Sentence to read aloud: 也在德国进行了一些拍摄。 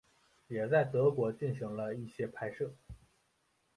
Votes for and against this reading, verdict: 4, 0, accepted